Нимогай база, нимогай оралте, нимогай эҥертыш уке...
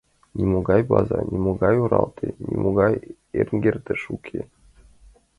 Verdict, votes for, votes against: rejected, 0, 2